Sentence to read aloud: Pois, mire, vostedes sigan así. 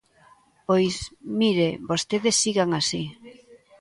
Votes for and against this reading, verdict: 3, 0, accepted